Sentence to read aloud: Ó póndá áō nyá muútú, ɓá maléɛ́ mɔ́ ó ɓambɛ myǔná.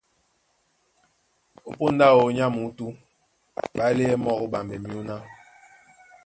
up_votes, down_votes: 2, 1